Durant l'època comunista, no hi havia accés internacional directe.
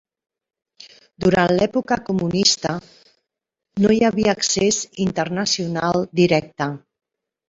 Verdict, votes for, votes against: accepted, 3, 0